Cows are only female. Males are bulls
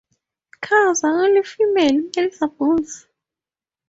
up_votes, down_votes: 4, 0